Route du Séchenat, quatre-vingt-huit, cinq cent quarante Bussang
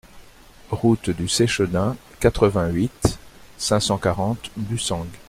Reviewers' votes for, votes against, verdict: 2, 0, accepted